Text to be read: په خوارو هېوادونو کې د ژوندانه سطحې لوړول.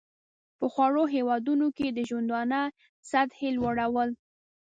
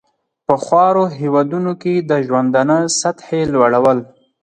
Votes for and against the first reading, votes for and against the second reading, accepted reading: 0, 2, 4, 0, second